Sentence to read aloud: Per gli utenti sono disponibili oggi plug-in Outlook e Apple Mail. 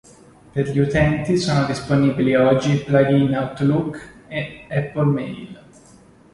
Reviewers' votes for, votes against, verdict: 2, 0, accepted